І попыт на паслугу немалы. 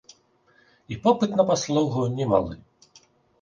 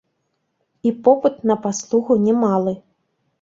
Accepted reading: first